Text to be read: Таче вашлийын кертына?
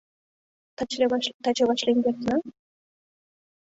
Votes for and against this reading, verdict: 0, 2, rejected